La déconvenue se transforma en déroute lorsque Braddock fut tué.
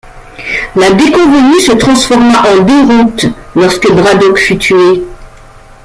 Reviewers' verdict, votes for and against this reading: accepted, 2, 1